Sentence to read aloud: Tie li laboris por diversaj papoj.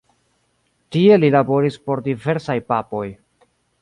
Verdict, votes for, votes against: accepted, 2, 0